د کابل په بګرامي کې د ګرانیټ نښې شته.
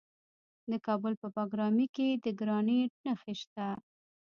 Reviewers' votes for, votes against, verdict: 0, 2, rejected